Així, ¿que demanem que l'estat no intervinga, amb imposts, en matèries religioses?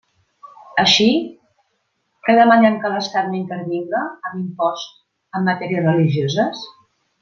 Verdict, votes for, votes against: accepted, 2, 0